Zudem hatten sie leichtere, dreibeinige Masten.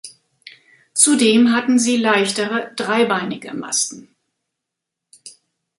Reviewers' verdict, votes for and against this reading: accepted, 2, 0